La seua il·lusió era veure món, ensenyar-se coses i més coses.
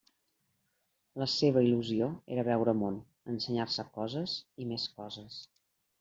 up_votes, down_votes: 0, 2